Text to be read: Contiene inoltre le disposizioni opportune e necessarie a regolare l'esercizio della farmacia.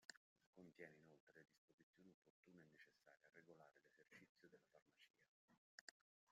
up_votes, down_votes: 0, 2